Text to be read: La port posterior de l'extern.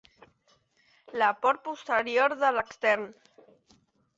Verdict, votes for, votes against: accepted, 2, 0